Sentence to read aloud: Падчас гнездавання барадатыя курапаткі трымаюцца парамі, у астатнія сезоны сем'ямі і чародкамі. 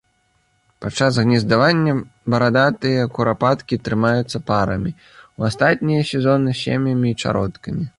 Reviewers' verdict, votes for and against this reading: rejected, 1, 2